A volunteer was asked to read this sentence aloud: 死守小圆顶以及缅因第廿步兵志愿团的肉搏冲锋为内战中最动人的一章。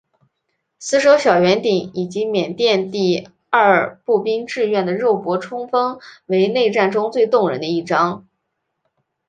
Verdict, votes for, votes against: accepted, 4, 0